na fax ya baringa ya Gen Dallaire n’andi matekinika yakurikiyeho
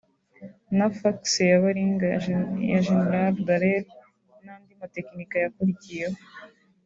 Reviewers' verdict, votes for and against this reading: rejected, 1, 2